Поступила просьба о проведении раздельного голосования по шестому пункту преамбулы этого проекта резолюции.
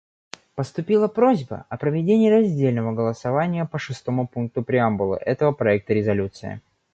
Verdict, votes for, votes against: accepted, 2, 0